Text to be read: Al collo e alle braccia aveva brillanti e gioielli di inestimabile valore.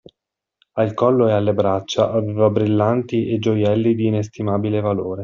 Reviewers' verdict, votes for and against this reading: rejected, 0, 2